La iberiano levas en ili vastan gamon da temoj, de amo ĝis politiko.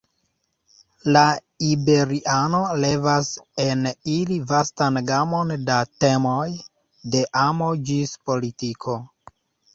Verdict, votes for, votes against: accepted, 2, 0